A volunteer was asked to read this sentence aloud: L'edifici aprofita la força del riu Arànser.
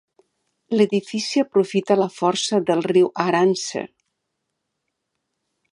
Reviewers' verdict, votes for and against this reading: accepted, 2, 0